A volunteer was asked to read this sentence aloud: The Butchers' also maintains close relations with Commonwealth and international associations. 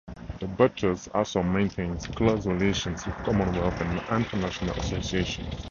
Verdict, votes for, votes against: accepted, 4, 0